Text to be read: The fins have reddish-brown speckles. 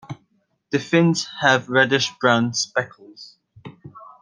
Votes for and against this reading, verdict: 2, 0, accepted